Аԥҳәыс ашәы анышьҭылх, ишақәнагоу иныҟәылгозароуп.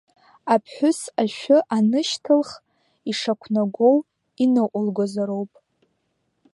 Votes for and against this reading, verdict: 2, 0, accepted